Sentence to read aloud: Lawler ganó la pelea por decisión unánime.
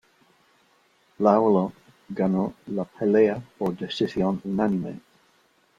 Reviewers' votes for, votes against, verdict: 2, 0, accepted